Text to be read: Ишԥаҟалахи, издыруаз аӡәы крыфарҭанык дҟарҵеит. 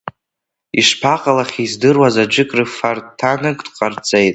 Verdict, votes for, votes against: rejected, 0, 2